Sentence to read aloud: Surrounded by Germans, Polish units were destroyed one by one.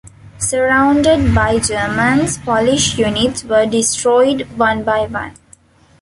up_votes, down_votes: 2, 0